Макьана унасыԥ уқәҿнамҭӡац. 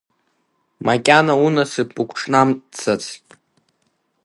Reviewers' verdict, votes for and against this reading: rejected, 0, 2